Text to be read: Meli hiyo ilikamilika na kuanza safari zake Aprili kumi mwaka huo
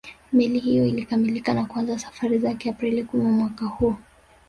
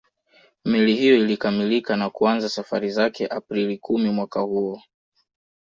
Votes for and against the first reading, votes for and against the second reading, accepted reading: 0, 2, 2, 0, second